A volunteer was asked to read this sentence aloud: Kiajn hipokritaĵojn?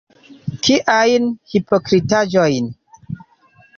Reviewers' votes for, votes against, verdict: 2, 0, accepted